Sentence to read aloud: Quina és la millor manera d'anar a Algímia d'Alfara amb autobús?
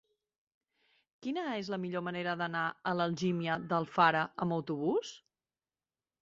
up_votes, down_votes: 1, 2